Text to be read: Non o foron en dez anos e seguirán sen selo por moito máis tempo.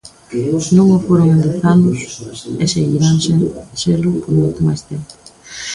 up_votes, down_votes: 0, 2